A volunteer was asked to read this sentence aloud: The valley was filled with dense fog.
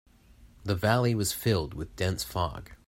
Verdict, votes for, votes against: accepted, 2, 0